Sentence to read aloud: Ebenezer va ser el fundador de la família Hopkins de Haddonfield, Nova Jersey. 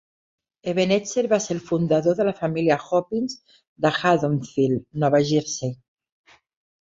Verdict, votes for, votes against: accepted, 3, 1